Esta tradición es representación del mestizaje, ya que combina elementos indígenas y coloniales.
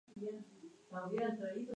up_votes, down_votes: 0, 4